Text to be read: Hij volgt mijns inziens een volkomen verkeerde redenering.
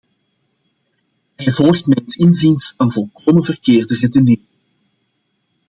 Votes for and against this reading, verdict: 0, 2, rejected